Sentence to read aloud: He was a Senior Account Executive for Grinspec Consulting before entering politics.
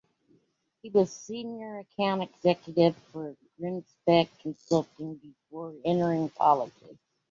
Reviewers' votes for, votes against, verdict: 2, 1, accepted